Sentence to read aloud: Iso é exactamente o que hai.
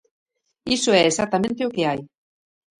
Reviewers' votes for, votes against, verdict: 1, 2, rejected